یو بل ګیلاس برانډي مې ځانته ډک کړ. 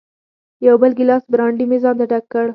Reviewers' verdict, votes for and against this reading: rejected, 1, 2